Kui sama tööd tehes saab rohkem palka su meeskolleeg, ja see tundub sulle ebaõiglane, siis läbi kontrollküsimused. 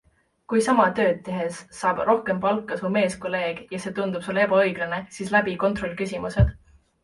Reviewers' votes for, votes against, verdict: 2, 0, accepted